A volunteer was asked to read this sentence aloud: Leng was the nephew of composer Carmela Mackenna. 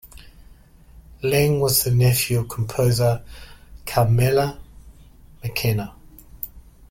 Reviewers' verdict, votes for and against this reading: accepted, 2, 0